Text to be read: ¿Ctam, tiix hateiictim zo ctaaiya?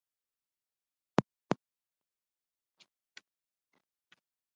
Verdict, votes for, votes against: rejected, 0, 2